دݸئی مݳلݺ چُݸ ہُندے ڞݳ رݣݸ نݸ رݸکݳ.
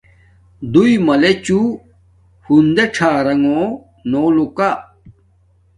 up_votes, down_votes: 1, 2